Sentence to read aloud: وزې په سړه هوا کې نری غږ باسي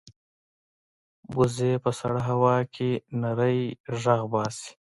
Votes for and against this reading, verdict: 0, 2, rejected